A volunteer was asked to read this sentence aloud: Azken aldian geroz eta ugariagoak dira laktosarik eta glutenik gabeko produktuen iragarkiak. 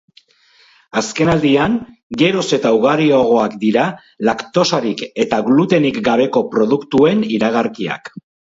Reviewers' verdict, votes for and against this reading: accepted, 2, 0